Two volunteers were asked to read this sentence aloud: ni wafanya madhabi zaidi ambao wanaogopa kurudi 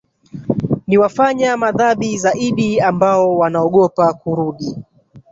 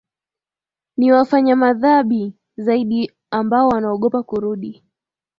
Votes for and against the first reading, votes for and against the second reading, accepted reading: 1, 2, 3, 0, second